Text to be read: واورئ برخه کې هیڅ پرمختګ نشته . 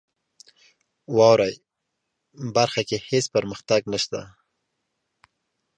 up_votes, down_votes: 1, 2